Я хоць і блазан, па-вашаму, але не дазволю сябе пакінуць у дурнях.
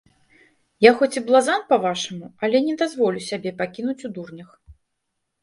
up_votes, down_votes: 0, 2